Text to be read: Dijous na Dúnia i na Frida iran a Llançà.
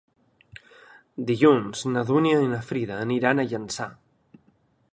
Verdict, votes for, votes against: rejected, 0, 2